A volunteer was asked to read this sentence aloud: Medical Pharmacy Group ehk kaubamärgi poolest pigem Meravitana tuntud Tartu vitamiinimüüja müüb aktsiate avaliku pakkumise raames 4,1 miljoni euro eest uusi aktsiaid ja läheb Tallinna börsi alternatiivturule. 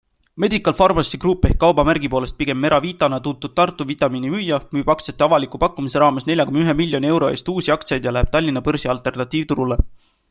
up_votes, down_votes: 0, 2